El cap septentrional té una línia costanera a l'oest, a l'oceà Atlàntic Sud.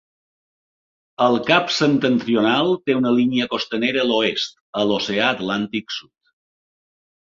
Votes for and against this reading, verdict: 2, 0, accepted